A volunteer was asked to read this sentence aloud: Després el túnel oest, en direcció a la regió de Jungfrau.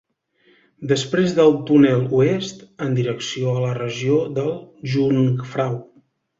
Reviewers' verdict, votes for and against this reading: rejected, 1, 2